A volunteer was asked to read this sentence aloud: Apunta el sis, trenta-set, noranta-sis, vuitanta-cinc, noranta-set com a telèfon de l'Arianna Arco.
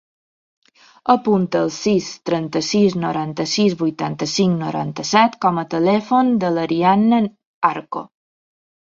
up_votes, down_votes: 1, 2